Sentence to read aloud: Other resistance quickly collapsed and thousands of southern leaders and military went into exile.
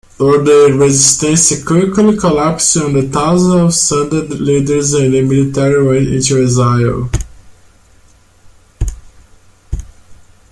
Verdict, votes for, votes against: rejected, 1, 2